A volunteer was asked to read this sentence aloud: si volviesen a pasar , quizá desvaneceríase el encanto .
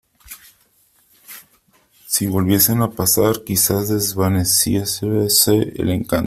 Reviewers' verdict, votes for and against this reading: rejected, 0, 2